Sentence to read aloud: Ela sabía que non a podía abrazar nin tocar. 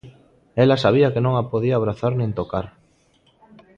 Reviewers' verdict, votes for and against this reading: accepted, 2, 0